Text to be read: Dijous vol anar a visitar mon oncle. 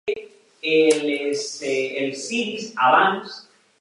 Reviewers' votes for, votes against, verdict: 1, 2, rejected